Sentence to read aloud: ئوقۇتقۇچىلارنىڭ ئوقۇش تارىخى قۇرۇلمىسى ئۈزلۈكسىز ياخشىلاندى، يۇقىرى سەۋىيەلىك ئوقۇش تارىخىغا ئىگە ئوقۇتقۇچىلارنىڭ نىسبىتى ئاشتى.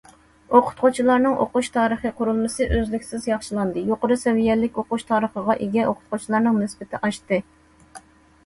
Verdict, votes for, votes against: accepted, 2, 0